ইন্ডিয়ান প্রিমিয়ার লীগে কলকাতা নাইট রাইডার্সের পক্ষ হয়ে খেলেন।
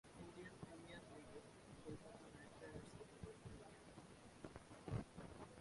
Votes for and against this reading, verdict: 0, 3, rejected